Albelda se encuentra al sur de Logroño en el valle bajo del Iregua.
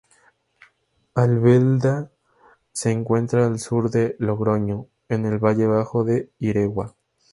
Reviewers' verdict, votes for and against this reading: rejected, 0, 2